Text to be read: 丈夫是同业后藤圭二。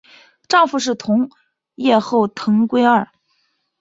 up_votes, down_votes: 2, 1